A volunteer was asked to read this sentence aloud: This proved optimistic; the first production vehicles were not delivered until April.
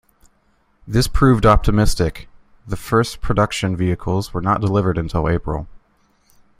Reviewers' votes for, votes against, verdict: 3, 0, accepted